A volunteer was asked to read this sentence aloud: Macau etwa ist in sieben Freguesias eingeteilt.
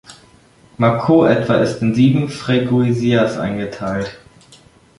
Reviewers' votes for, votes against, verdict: 1, 2, rejected